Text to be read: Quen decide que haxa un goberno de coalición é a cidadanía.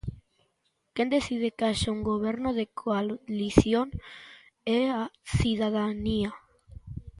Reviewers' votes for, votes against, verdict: 0, 2, rejected